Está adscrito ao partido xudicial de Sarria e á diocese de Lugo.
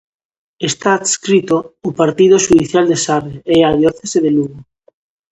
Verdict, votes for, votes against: rejected, 0, 2